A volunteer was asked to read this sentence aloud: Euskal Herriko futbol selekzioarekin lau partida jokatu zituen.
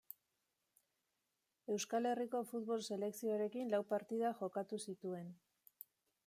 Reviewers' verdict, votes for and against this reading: accepted, 2, 0